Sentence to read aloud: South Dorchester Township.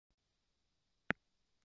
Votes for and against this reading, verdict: 0, 2, rejected